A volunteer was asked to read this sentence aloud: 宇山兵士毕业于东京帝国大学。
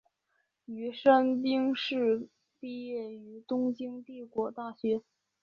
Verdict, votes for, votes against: accepted, 5, 0